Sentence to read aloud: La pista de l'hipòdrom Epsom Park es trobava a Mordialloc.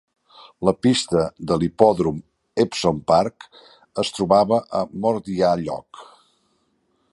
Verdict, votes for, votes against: accepted, 2, 1